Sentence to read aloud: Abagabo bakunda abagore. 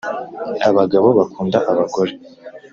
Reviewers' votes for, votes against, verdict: 2, 0, accepted